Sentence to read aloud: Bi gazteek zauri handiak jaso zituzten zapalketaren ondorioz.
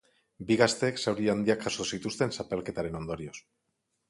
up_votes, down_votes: 4, 0